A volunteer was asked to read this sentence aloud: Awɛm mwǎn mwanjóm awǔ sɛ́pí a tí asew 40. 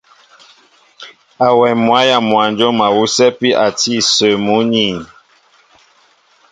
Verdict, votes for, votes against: rejected, 0, 2